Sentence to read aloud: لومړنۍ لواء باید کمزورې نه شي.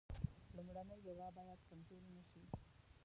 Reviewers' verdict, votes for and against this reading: rejected, 0, 2